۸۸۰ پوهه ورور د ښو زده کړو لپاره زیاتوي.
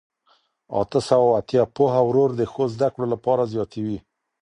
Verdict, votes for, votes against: rejected, 0, 2